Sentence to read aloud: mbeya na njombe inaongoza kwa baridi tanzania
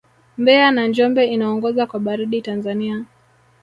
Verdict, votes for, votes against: rejected, 1, 2